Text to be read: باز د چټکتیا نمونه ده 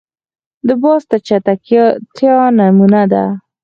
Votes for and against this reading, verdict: 2, 4, rejected